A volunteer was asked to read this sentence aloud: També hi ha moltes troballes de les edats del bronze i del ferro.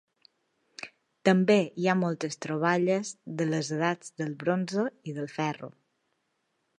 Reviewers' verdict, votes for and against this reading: accepted, 3, 0